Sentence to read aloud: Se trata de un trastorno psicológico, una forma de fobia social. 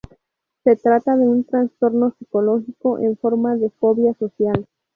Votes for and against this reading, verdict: 0, 2, rejected